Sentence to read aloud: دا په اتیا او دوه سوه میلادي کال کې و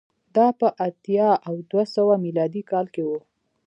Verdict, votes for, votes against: rejected, 1, 2